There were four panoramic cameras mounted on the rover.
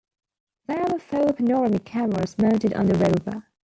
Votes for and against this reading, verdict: 0, 2, rejected